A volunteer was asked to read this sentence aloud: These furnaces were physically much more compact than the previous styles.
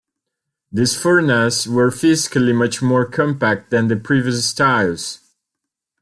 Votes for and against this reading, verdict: 0, 2, rejected